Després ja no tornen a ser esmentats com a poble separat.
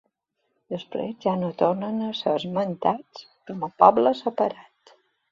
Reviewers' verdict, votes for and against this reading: accepted, 4, 0